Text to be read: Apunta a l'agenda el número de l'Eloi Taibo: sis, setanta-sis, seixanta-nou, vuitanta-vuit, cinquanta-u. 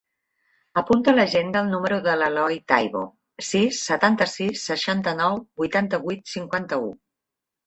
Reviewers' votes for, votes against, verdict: 2, 0, accepted